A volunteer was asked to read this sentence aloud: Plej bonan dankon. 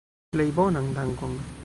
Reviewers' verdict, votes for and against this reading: rejected, 1, 2